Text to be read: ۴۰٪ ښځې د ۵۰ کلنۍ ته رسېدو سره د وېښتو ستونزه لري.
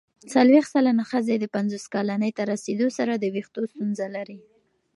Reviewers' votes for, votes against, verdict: 0, 2, rejected